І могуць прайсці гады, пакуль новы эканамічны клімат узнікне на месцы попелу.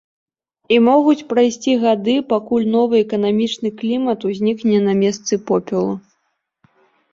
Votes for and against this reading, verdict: 4, 0, accepted